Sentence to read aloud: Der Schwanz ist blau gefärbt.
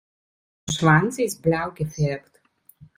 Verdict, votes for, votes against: rejected, 0, 2